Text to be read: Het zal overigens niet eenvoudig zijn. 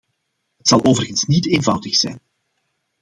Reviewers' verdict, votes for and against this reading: accepted, 2, 0